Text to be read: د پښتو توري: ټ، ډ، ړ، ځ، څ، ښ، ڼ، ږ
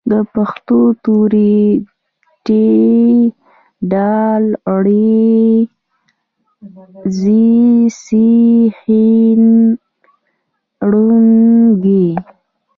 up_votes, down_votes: 2, 0